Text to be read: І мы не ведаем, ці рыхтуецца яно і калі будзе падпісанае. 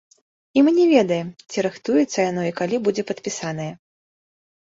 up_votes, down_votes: 1, 2